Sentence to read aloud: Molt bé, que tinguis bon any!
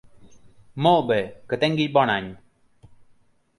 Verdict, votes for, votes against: accepted, 2, 0